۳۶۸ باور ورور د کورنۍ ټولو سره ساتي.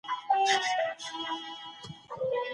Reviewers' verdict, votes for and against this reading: rejected, 0, 2